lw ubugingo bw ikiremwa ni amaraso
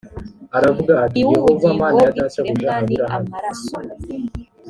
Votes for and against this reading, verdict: 1, 2, rejected